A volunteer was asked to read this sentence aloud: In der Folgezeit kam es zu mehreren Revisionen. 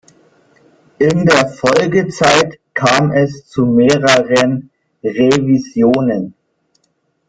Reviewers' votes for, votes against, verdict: 0, 2, rejected